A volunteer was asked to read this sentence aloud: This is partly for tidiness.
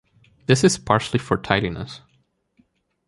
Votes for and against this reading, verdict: 1, 2, rejected